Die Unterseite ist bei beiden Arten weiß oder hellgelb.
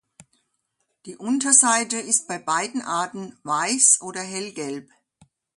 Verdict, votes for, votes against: accepted, 2, 0